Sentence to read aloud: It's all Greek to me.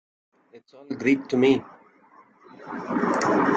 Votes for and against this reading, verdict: 0, 2, rejected